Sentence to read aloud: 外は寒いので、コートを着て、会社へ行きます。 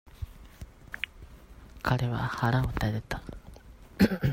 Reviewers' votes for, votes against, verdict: 0, 2, rejected